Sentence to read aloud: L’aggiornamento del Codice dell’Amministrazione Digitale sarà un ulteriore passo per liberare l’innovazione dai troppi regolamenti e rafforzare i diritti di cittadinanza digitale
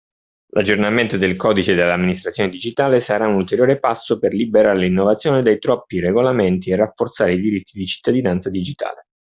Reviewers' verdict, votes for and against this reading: accepted, 2, 0